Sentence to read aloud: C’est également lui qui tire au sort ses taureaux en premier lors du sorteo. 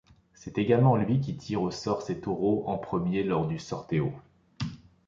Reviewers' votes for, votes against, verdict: 2, 0, accepted